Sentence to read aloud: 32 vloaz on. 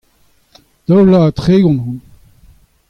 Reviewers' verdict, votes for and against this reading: rejected, 0, 2